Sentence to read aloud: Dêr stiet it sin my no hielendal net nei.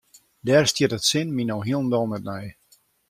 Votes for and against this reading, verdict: 2, 0, accepted